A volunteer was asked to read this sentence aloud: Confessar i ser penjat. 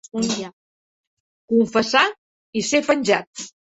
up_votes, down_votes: 0, 3